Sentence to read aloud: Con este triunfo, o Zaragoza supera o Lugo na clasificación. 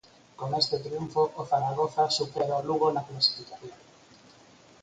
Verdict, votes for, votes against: accepted, 4, 0